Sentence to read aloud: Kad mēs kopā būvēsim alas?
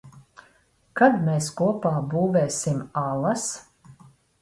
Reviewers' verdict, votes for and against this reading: rejected, 0, 2